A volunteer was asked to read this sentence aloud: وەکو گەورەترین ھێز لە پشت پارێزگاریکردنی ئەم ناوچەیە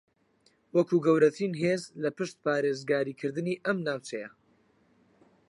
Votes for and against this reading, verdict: 4, 0, accepted